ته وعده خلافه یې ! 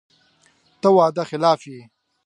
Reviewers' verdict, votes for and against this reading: accepted, 2, 0